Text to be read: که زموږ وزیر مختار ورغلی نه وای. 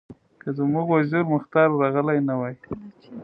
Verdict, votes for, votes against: accepted, 2, 1